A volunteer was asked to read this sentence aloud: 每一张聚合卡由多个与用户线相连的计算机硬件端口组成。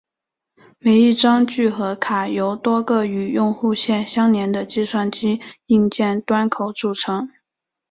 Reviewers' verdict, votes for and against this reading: accepted, 2, 0